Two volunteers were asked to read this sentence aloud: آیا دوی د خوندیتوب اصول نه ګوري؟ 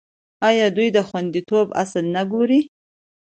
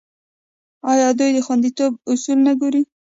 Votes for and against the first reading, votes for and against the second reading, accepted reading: 2, 0, 1, 2, first